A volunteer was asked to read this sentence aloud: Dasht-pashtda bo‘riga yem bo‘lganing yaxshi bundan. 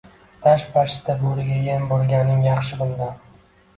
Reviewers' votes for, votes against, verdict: 0, 2, rejected